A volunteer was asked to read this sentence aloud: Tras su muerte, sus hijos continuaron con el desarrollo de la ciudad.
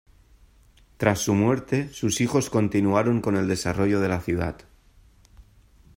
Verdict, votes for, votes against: accepted, 2, 0